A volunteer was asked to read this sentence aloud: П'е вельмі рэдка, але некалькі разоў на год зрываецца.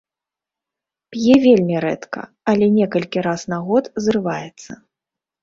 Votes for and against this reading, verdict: 1, 2, rejected